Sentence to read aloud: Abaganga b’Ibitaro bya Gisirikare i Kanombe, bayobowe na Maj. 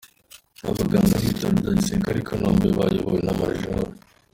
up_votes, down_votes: 2, 1